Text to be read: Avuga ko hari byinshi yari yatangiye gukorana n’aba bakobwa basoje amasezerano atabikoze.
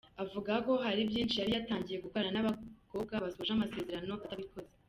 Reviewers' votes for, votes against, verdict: 1, 2, rejected